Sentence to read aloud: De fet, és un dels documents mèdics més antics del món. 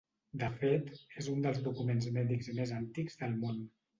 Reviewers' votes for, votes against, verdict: 2, 0, accepted